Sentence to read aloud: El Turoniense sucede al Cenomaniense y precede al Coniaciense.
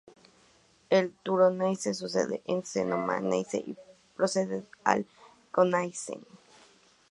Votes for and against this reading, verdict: 0, 2, rejected